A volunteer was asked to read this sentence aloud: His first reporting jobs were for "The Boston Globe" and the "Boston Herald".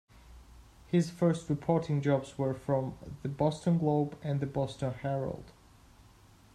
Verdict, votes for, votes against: rejected, 0, 2